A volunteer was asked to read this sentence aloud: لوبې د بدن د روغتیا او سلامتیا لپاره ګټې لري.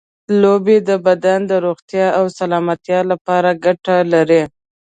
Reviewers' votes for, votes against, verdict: 1, 2, rejected